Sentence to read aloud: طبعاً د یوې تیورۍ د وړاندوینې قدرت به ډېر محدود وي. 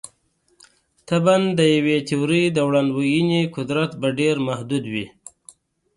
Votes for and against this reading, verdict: 2, 0, accepted